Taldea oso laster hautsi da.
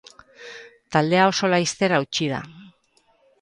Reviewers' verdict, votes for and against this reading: accepted, 4, 0